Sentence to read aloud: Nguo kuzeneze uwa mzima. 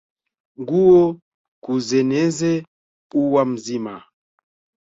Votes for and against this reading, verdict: 2, 1, accepted